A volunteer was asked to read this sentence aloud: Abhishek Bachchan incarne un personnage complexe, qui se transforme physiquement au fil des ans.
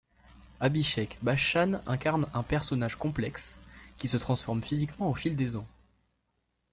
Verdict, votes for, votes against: accepted, 2, 0